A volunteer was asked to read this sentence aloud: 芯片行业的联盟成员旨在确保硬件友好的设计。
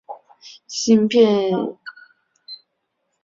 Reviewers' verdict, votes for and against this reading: rejected, 0, 3